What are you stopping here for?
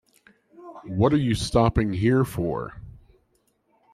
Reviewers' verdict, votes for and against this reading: rejected, 1, 2